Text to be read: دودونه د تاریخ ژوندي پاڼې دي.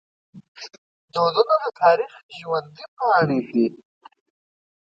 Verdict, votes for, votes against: rejected, 0, 2